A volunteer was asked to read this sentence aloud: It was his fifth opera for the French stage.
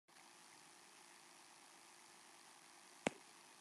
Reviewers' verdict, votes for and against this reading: rejected, 0, 3